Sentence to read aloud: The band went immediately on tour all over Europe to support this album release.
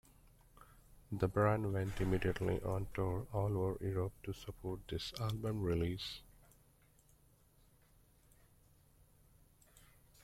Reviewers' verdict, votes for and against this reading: rejected, 1, 2